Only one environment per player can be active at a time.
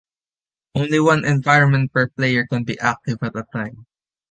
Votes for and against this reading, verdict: 2, 0, accepted